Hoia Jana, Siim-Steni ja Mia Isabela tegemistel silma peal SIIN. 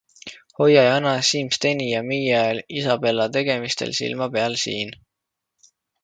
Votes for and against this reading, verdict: 2, 1, accepted